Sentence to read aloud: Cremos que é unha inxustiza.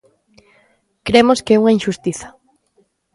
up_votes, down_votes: 3, 0